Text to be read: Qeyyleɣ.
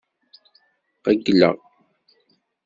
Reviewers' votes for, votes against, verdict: 2, 0, accepted